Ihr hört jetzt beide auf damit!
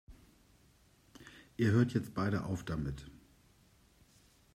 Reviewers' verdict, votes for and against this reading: accepted, 2, 0